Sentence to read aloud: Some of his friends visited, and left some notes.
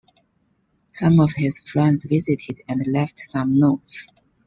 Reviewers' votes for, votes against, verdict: 2, 0, accepted